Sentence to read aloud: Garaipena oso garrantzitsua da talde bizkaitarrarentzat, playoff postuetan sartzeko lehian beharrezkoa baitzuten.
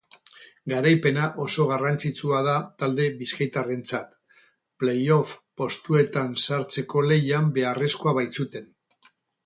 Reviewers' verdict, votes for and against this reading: rejected, 2, 2